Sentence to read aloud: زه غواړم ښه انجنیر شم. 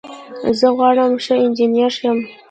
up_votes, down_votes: 0, 2